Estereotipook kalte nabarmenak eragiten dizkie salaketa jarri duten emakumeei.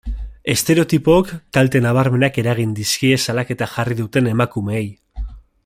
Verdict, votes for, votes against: rejected, 1, 2